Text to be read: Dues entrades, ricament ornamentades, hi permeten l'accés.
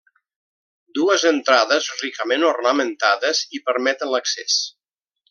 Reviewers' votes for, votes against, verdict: 1, 2, rejected